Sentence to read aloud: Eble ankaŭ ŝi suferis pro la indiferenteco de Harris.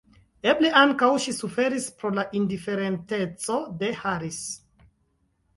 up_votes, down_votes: 1, 2